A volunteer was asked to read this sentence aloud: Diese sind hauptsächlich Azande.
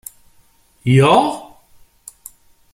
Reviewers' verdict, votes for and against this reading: rejected, 0, 2